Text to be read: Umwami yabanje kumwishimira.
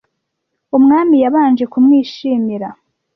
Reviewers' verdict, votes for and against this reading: accepted, 2, 0